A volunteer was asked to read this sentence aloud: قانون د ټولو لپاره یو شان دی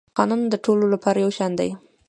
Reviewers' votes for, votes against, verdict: 2, 1, accepted